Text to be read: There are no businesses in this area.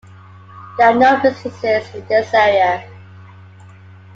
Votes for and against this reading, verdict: 2, 0, accepted